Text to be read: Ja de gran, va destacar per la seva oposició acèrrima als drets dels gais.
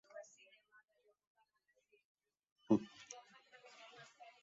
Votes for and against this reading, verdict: 0, 2, rejected